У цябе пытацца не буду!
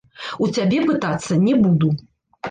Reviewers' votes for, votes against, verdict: 0, 2, rejected